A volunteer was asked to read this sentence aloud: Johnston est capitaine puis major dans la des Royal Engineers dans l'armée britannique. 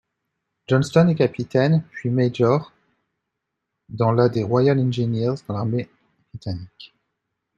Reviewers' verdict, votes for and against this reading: accepted, 2, 0